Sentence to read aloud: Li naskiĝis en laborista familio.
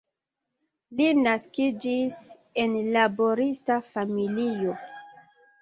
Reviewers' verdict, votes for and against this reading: accepted, 2, 0